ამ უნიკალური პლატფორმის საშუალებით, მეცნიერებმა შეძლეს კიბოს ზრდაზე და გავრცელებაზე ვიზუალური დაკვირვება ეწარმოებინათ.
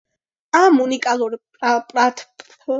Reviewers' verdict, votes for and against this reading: rejected, 1, 2